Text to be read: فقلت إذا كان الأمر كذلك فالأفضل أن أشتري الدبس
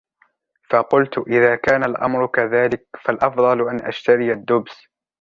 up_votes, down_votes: 2, 0